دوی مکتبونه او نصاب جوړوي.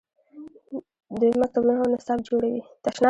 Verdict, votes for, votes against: accepted, 2, 0